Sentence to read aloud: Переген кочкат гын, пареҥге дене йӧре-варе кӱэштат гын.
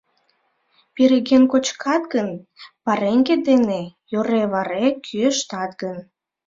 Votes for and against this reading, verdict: 2, 0, accepted